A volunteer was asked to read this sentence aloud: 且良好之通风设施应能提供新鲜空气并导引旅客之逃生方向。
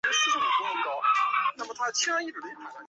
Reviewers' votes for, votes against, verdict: 1, 2, rejected